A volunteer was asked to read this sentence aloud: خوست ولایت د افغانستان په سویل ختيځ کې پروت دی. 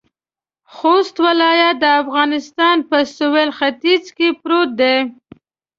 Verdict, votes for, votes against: accepted, 2, 0